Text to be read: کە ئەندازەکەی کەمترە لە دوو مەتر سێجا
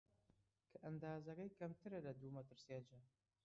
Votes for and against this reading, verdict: 0, 2, rejected